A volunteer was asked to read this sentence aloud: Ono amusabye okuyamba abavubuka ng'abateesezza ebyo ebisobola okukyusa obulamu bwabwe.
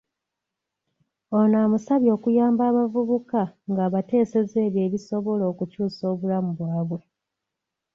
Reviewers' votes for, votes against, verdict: 2, 0, accepted